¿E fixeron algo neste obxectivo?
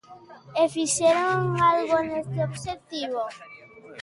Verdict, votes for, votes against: accepted, 2, 0